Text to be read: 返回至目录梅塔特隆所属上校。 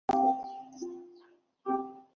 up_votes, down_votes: 0, 3